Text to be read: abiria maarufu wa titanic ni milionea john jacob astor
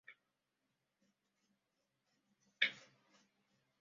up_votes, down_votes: 0, 2